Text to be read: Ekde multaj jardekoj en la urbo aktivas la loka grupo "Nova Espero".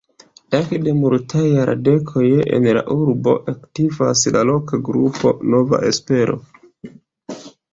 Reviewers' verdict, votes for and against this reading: rejected, 0, 2